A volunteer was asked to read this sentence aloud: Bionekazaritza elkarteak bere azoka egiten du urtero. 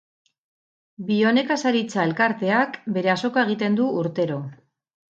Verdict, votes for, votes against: rejected, 0, 2